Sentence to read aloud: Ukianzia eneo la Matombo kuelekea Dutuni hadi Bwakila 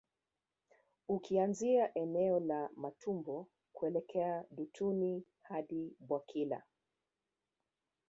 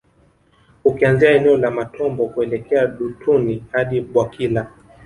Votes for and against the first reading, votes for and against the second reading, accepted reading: 2, 1, 1, 2, first